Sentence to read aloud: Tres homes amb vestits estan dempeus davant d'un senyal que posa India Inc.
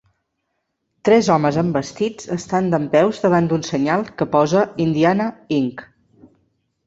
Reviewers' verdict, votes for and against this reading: rejected, 1, 2